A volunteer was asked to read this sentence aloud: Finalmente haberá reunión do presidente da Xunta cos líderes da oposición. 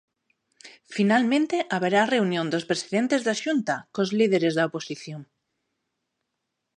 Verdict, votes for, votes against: rejected, 0, 2